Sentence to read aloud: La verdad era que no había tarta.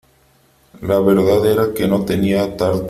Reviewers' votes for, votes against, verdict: 0, 3, rejected